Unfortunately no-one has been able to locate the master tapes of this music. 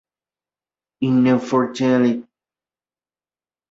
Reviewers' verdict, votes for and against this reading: rejected, 0, 2